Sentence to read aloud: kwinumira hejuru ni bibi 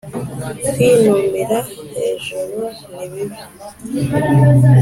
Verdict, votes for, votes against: accepted, 3, 0